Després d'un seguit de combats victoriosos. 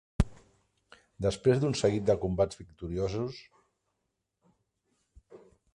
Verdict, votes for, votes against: accepted, 8, 2